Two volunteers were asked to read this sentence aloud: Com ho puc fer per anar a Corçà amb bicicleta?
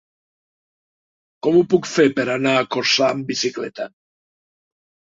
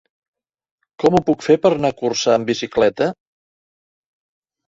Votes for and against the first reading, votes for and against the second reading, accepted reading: 3, 0, 1, 2, first